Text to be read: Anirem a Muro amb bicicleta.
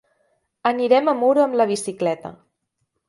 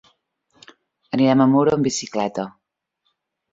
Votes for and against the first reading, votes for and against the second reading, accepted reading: 1, 3, 2, 0, second